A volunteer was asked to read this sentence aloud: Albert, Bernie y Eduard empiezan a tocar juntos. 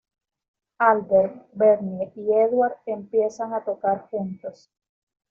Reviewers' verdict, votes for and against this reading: accepted, 2, 1